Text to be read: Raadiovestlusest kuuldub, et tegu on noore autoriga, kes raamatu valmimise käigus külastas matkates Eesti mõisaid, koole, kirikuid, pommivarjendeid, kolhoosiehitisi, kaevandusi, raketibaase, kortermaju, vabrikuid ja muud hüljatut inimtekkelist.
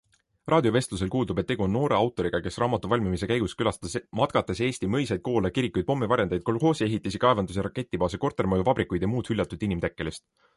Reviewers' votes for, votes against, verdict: 2, 0, accepted